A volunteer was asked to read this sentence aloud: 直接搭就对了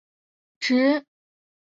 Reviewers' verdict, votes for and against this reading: rejected, 2, 3